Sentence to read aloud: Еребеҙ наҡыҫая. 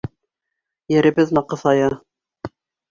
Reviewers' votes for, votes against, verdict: 2, 0, accepted